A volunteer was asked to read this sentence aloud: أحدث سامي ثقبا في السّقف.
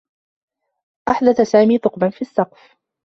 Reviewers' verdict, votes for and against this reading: rejected, 1, 2